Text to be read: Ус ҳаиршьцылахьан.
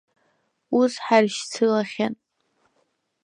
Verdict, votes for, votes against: rejected, 0, 2